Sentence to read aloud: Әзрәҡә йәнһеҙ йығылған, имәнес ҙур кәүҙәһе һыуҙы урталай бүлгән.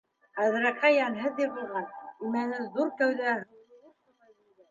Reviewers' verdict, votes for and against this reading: rejected, 0, 2